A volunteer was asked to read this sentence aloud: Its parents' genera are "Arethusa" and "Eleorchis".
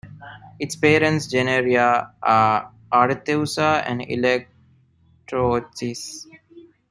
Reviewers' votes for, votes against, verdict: 0, 2, rejected